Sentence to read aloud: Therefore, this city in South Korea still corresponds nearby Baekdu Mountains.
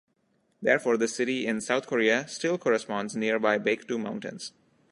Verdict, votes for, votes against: accepted, 2, 0